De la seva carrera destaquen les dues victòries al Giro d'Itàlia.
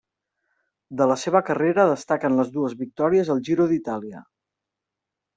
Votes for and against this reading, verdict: 4, 0, accepted